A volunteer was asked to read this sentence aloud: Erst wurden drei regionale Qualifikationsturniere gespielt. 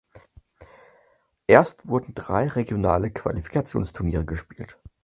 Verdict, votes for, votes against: accepted, 4, 0